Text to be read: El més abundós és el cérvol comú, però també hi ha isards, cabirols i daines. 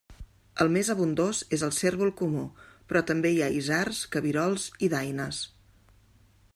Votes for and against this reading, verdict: 2, 0, accepted